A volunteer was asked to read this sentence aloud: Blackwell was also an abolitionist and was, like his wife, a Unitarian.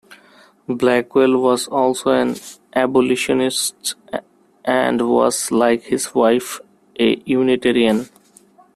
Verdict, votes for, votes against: rejected, 1, 2